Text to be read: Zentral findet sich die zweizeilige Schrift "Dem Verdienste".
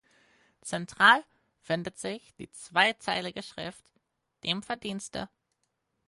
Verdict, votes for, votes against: accepted, 4, 0